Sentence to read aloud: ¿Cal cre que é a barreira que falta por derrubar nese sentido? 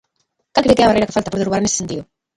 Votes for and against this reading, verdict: 0, 2, rejected